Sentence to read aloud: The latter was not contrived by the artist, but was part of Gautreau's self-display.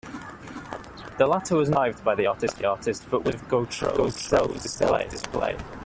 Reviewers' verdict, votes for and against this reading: rejected, 0, 2